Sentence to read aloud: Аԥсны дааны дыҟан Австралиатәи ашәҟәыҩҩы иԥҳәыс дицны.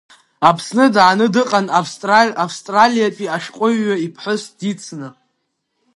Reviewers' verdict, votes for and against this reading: rejected, 1, 2